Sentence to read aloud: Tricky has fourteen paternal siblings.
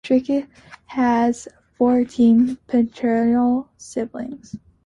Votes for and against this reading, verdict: 2, 0, accepted